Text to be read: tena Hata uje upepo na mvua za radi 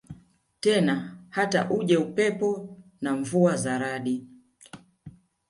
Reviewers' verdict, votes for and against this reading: accepted, 2, 1